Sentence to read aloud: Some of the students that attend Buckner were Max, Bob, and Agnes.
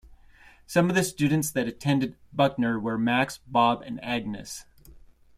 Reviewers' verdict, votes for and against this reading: accepted, 2, 0